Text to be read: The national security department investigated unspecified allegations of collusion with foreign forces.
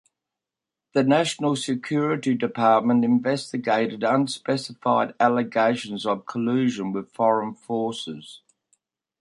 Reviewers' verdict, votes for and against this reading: accepted, 2, 0